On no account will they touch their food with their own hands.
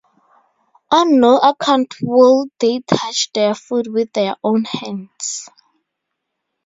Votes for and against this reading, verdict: 4, 0, accepted